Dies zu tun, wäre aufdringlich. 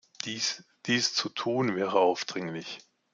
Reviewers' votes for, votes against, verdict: 0, 2, rejected